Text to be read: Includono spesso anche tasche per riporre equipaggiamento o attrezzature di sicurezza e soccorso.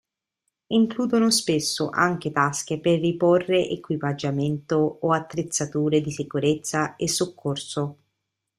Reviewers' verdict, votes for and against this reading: accepted, 2, 0